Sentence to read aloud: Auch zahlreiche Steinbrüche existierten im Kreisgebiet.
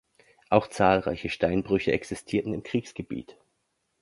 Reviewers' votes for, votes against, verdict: 0, 3, rejected